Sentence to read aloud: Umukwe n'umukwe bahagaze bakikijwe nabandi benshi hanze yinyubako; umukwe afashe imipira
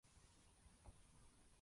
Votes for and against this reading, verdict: 0, 2, rejected